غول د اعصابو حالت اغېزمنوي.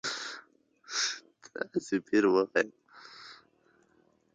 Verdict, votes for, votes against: rejected, 1, 2